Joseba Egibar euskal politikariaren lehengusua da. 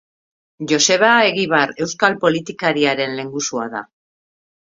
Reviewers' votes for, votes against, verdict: 2, 0, accepted